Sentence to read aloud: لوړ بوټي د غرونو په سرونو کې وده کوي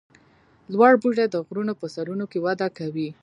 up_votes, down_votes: 2, 0